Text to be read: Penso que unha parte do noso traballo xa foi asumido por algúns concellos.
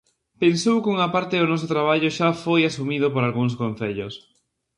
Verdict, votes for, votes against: rejected, 0, 2